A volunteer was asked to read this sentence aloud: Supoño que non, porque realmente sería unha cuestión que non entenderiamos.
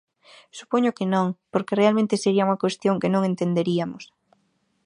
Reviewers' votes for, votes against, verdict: 2, 4, rejected